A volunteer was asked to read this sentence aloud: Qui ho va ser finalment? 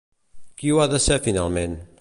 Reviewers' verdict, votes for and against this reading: rejected, 0, 2